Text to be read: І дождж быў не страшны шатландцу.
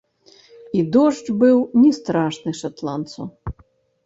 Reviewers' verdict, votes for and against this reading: rejected, 0, 2